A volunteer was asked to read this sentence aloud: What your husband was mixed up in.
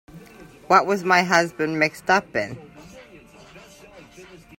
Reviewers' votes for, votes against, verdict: 0, 2, rejected